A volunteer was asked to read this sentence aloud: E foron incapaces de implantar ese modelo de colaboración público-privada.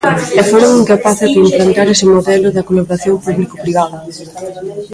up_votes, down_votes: 1, 2